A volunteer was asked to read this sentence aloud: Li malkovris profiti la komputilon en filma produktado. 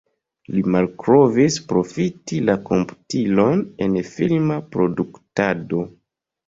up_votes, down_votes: 2, 3